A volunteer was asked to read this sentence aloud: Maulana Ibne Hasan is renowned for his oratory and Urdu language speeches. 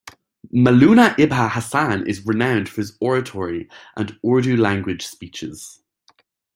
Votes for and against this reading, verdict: 2, 0, accepted